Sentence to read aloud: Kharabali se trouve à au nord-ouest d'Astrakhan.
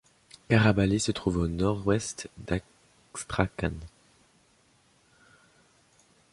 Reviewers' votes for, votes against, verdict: 1, 2, rejected